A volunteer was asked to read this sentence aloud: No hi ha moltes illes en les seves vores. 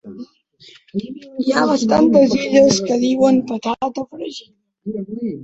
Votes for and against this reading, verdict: 2, 1, accepted